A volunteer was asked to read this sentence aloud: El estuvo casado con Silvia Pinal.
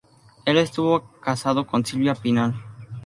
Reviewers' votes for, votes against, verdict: 2, 2, rejected